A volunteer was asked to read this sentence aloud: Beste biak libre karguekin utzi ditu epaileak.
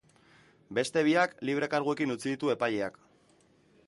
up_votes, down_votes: 2, 0